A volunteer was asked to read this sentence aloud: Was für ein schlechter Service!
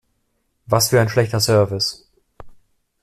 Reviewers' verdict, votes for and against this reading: accepted, 2, 0